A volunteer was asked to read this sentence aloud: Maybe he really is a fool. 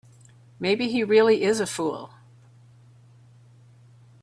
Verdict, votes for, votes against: accepted, 3, 0